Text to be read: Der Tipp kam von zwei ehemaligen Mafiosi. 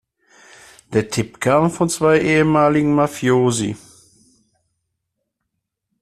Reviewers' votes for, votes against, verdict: 2, 0, accepted